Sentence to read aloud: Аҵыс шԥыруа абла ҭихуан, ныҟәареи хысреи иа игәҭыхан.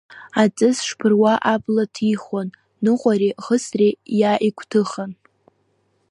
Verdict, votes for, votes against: rejected, 0, 2